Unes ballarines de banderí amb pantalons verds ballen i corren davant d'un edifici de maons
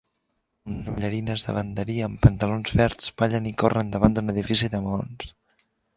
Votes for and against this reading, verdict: 0, 2, rejected